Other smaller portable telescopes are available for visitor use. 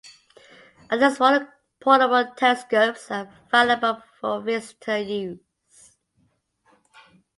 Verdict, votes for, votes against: rejected, 0, 2